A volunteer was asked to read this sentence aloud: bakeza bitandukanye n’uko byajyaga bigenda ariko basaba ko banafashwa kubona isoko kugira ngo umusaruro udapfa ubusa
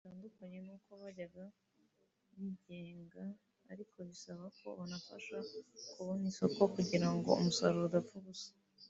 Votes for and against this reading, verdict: 0, 2, rejected